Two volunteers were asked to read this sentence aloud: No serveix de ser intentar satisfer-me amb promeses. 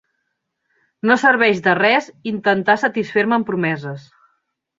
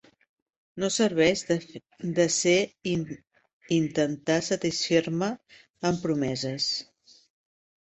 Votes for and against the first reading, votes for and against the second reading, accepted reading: 2, 1, 0, 2, first